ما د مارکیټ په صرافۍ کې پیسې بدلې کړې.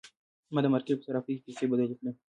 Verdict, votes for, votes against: rejected, 1, 2